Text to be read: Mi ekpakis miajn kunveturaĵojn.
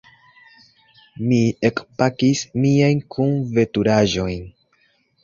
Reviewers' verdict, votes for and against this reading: accepted, 2, 0